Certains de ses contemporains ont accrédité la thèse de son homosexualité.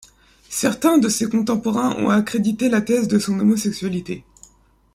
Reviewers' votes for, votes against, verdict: 2, 0, accepted